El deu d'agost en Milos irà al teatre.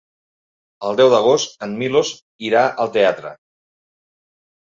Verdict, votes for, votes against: accepted, 3, 0